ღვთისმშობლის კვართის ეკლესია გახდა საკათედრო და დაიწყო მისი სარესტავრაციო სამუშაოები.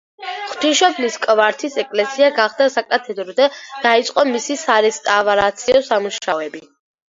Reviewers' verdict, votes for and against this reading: rejected, 1, 2